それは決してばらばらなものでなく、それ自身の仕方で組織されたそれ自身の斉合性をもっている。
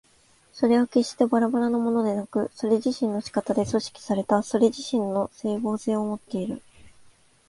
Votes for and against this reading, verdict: 3, 0, accepted